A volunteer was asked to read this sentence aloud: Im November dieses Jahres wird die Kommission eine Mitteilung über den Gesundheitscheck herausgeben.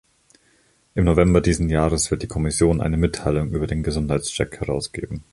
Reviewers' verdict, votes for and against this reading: rejected, 0, 2